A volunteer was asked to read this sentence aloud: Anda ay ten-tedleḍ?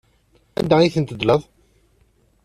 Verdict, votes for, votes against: accepted, 2, 0